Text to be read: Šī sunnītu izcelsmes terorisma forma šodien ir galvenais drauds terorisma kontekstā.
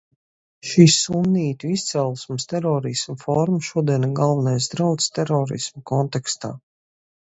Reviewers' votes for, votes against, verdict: 2, 0, accepted